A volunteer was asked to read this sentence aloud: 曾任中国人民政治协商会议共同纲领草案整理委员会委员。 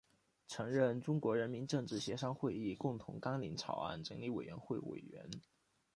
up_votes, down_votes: 2, 0